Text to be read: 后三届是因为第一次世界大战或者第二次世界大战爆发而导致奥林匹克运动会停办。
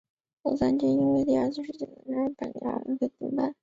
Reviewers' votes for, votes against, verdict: 0, 2, rejected